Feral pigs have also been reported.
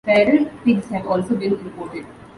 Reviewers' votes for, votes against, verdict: 2, 0, accepted